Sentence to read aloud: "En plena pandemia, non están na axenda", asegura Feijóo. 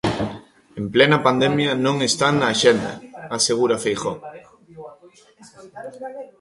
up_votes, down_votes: 1, 2